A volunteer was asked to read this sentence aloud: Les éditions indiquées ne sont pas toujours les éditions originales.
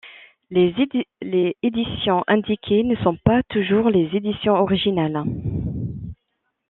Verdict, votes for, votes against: rejected, 1, 2